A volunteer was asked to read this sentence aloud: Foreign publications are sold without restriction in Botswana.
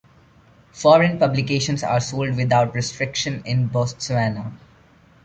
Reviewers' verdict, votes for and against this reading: accepted, 2, 1